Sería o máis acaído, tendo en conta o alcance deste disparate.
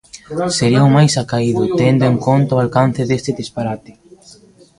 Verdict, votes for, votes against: accepted, 2, 0